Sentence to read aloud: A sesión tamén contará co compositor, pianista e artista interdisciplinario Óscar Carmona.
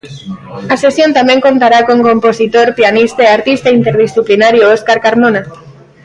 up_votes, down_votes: 0, 2